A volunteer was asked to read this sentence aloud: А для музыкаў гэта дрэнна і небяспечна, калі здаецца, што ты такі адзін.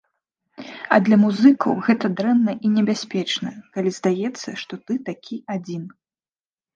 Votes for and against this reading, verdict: 2, 0, accepted